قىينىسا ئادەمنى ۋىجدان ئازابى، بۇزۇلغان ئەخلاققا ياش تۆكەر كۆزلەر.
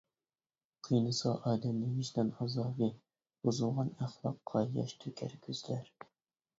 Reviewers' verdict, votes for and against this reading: rejected, 1, 2